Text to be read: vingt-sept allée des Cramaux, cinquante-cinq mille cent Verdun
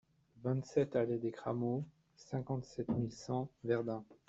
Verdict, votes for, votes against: rejected, 0, 2